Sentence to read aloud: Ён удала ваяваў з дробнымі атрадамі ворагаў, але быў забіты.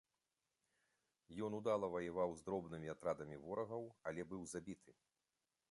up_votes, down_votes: 3, 2